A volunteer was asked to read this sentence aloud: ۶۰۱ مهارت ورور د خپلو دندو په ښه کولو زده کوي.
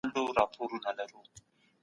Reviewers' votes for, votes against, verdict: 0, 2, rejected